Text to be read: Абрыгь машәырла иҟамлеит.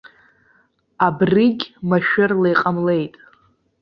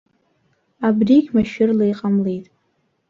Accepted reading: second